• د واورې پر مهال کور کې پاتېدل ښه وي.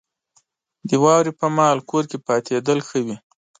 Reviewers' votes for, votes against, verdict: 2, 0, accepted